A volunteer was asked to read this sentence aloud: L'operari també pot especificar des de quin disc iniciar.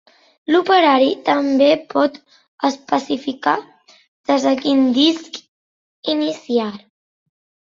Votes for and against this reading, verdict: 3, 1, accepted